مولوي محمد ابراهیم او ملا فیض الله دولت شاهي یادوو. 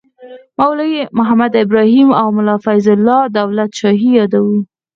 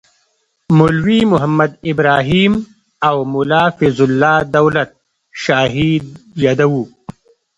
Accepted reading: first